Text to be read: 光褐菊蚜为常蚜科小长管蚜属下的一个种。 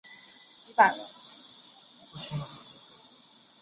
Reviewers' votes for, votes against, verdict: 0, 2, rejected